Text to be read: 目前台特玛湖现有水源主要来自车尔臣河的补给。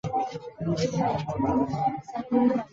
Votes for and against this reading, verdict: 1, 4, rejected